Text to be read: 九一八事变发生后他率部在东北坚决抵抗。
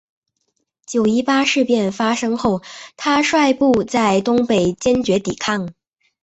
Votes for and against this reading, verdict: 3, 0, accepted